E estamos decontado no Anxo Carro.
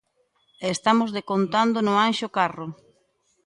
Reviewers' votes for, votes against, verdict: 0, 2, rejected